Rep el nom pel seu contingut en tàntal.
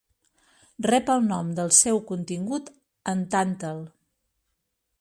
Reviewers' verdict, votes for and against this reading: rejected, 1, 2